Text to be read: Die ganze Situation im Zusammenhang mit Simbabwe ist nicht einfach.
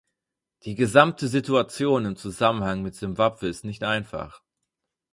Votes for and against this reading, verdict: 2, 4, rejected